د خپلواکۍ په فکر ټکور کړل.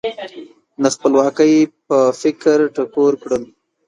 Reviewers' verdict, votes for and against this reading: rejected, 1, 2